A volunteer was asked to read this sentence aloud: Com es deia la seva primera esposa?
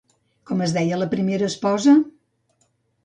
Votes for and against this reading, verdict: 0, 2, rejected